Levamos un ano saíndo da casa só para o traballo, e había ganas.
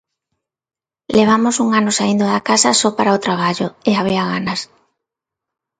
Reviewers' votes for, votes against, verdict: 2, 0, accepted